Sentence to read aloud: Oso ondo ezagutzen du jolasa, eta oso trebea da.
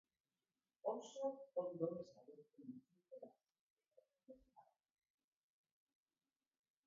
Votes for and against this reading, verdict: 0, 3, rejected